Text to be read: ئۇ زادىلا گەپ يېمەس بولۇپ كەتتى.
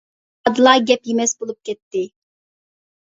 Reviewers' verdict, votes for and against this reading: rejected, 0, 2